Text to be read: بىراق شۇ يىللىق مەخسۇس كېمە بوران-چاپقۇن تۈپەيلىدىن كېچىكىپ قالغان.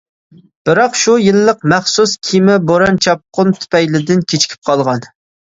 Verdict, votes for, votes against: accepted, 2, 0